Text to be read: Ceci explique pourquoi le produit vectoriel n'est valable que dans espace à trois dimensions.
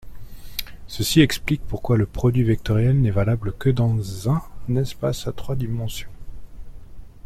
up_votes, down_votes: 0, 2